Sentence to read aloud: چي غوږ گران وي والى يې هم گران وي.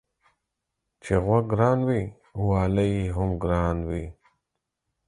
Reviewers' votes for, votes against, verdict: 4, 0, accepted